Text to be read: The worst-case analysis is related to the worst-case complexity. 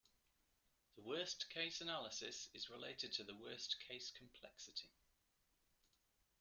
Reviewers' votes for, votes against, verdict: 1, 2, rejected